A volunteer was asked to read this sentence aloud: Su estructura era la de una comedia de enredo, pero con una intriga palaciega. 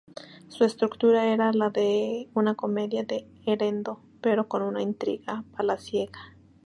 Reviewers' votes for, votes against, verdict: 0, 2, rejected